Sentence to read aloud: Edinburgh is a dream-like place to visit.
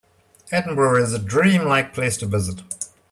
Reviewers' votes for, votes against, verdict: 2, 0, accepted